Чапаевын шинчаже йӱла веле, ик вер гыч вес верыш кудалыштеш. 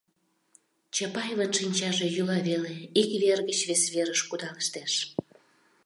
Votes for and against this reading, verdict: 2, 0, accepted